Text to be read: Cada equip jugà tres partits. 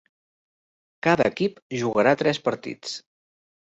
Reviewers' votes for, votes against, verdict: 0, 2, rejected